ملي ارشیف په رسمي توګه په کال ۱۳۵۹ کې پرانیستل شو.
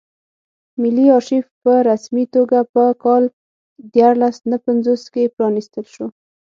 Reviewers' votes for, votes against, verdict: 0, 2, rejected